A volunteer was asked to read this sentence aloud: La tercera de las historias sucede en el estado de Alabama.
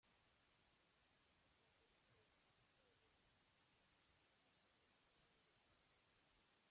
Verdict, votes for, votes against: rejected, 0, 2